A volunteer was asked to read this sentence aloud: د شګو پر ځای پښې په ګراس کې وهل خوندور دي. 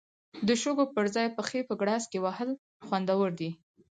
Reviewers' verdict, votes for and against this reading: accepted, 4, 0